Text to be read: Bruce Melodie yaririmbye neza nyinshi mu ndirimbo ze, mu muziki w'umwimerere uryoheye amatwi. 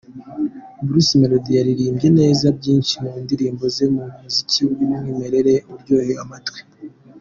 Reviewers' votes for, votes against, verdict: 2, 0, accepted